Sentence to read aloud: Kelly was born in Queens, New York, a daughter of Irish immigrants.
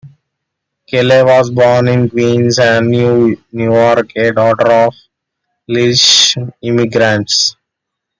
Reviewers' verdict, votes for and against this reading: rejected, 1, 2